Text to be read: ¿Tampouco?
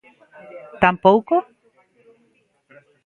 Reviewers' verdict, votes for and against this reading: accepted, 2, 1